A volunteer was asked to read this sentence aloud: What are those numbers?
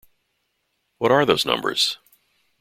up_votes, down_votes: 2, 0